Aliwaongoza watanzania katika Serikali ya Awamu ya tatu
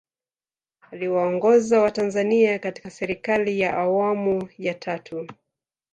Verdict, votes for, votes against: rejected, 1, 2